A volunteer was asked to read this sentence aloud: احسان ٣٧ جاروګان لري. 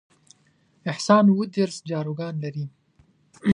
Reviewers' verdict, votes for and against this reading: rejected, 0, 2